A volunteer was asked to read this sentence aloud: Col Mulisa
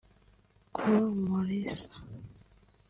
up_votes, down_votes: 3, 0